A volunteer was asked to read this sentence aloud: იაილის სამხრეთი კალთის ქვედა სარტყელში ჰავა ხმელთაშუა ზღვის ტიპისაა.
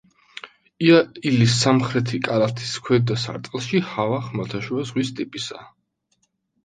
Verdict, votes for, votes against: rejected, 0, 2